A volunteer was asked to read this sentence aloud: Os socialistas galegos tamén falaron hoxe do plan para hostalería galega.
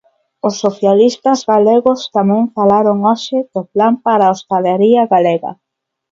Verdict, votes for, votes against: rejected, 1, 2